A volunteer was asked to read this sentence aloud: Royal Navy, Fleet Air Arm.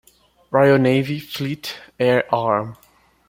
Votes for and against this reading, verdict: 2, 0, accepted